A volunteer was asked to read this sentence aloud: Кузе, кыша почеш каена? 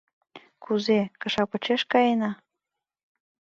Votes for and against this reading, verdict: 2, 0, accepted